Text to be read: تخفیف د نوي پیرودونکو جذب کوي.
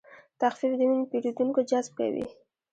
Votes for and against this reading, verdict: 2, 0, accepted